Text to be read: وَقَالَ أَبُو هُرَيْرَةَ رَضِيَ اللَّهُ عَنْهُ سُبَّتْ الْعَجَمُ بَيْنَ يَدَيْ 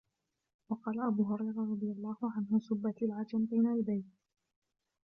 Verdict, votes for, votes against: rejected, 0, 2